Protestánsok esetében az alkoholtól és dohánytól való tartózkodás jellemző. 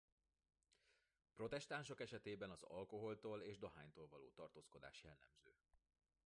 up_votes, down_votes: 2, 1